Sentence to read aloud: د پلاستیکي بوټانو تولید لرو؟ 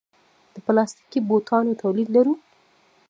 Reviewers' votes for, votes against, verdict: 0, 2, rejected